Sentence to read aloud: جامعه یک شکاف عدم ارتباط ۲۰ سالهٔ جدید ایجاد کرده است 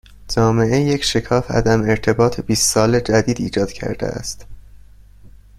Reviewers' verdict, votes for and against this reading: rejected, 0, 2